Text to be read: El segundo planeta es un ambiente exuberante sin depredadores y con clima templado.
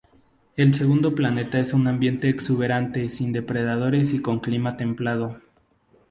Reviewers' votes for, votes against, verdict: 2, 0, accepted